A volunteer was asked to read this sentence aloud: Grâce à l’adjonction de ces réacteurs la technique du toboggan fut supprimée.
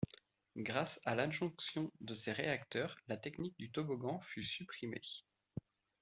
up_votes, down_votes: 2, 0